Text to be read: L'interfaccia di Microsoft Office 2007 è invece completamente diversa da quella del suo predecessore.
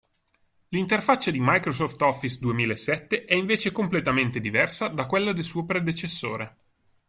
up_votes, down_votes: 0, 2